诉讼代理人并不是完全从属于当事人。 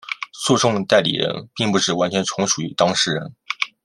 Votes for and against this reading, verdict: 2, 0, accepted